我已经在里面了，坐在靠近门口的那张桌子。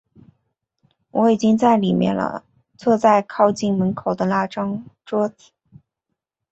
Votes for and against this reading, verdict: 1, 2, rejected